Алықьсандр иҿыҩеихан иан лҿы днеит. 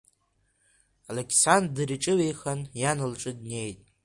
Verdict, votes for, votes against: accepted, 2, 1